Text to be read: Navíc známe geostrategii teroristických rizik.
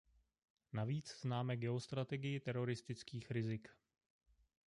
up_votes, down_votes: 1, 2